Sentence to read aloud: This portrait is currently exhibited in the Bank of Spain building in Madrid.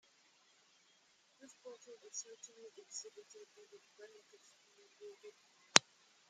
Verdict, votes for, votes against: rejected, 1, 2